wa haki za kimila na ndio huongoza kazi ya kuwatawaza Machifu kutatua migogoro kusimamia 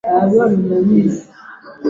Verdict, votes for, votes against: rejected, 0, 2